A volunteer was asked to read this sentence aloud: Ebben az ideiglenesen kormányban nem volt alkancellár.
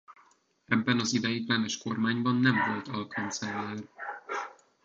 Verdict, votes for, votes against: rejected, 1, 2